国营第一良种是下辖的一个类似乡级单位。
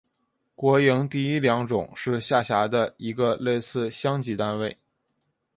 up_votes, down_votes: 2, 0